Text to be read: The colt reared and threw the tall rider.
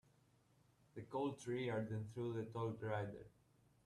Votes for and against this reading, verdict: 0, 2, rejected